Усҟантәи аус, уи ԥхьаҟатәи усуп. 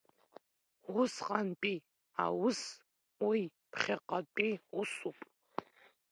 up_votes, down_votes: 1, 2